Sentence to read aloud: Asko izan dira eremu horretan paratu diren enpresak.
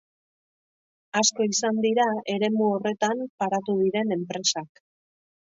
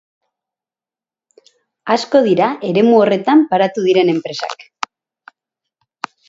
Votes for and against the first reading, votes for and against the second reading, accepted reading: 3, 0, 0, 2, first